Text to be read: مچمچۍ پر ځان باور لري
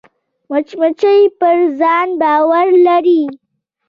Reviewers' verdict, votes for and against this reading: accepted, 2, 0